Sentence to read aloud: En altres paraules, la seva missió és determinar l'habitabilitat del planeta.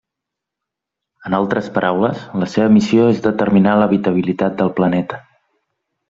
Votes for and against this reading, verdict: 3, 0, accepted